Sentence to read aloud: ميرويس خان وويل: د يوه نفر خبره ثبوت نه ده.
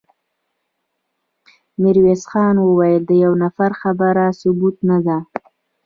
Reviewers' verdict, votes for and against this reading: accepted, 2, 0